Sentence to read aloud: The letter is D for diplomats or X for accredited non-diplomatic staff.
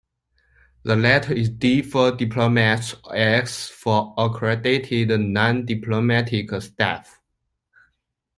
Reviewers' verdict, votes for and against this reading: accepted, 2, 0